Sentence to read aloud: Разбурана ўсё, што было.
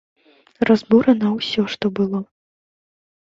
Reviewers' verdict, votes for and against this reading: accepted, 2, 0